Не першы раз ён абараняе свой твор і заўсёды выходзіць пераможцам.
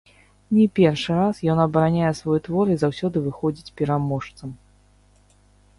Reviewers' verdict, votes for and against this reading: rejected, 0, 2